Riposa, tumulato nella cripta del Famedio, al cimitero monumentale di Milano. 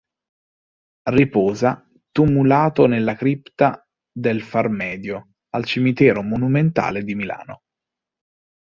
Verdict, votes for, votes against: rejected, 1, 2